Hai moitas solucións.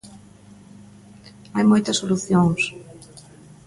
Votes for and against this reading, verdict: 1, 2, rejected